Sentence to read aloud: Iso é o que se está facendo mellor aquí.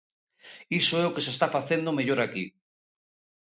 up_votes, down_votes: 3, 0